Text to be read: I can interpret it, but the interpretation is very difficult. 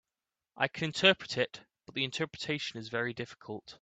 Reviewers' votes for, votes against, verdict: 1, 2, rejected